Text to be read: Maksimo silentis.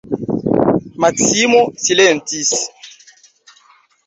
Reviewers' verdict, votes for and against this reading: accepted, 2, 0